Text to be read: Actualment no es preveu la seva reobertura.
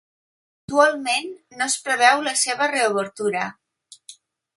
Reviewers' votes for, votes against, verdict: 1, 2, rejected